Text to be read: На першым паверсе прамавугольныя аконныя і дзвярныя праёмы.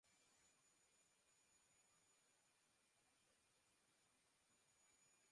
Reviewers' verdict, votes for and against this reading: rejected, 0, 2